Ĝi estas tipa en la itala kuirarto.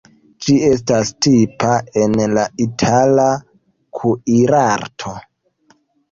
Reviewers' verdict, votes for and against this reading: accepted, 2, 0